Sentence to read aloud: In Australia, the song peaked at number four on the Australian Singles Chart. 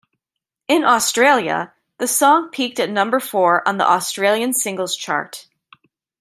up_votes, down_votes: 2, 0